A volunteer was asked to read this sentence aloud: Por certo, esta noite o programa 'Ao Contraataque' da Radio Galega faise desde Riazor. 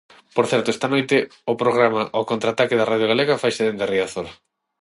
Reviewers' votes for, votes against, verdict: 3, 3, rejected